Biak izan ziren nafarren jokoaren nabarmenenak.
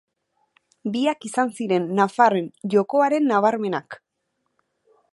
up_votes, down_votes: 1, 2